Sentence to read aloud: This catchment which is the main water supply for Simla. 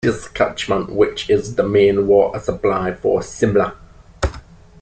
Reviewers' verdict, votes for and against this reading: rejected, 1, 2